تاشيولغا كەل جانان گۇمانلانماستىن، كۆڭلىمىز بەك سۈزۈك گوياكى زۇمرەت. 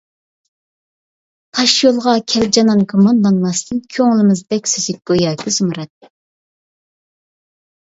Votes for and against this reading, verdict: 2, 1, accepted